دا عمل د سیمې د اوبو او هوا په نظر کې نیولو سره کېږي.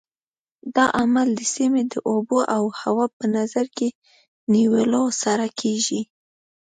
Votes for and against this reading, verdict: 2, 0, accepted